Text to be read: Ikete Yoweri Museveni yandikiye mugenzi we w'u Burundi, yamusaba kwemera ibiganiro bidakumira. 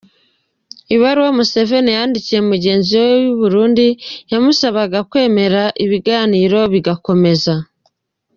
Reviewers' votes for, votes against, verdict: 0, 2, rejected